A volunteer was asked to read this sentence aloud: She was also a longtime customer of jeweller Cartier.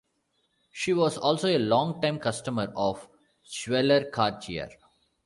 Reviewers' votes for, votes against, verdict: 2, 0, accepted